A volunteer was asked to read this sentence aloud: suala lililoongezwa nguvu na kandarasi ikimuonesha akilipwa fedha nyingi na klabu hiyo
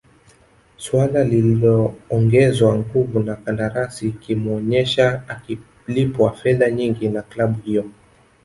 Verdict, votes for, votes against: rejected, 1, 2